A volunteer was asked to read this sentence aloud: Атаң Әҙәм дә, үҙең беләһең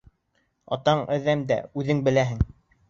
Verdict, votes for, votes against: accepted, 2, 0